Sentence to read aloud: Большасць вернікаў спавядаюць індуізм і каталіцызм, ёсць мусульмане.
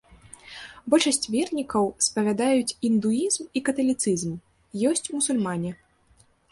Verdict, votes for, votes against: accepted, 2, 0